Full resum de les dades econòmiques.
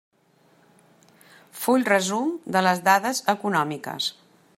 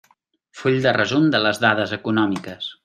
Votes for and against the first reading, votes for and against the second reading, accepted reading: 3, 0, 0, 2, first